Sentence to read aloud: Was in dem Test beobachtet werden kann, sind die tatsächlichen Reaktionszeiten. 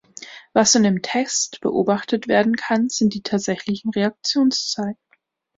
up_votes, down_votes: 2, 0